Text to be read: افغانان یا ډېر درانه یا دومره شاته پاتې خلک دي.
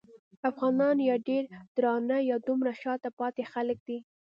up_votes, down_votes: 2, 0